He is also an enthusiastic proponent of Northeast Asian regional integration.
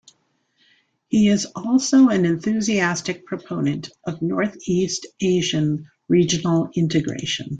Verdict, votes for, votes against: accepted, 2, 0